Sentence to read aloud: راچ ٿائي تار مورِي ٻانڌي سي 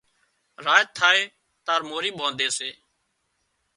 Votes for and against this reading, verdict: 2, 0, accepted